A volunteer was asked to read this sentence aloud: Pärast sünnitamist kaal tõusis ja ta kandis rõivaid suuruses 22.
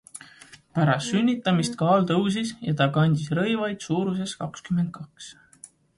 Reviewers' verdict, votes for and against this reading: rejected, 0, 2